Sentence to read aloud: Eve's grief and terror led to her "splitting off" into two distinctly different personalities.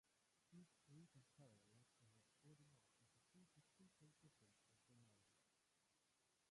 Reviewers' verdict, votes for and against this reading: rejected, 0, 2